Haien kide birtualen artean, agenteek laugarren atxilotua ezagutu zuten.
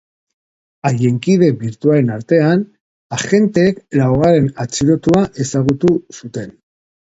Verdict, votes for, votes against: accepted, 3, 0